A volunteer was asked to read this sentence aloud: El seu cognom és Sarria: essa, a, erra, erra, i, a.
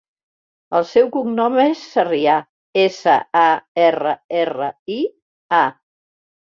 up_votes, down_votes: 1, 2